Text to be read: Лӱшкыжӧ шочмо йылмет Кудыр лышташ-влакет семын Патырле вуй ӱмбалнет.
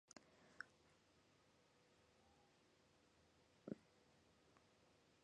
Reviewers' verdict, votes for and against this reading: rejected, 1, 2